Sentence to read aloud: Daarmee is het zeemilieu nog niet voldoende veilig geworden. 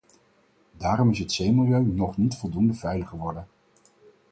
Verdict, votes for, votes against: rejected, 2, 4